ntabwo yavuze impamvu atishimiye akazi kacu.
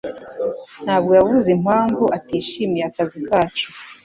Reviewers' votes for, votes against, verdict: 2, 0, accepted